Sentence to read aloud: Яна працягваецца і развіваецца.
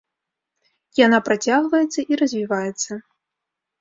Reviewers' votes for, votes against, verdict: 2, 0, accepted